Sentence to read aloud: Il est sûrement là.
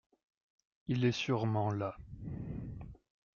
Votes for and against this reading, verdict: 2, 0, accepted